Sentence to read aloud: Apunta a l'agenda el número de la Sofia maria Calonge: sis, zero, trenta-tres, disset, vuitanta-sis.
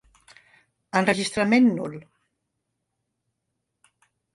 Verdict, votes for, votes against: rejected, 1, 2